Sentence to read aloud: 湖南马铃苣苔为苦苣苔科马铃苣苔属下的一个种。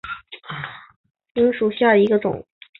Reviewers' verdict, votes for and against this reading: rejected, 1, 4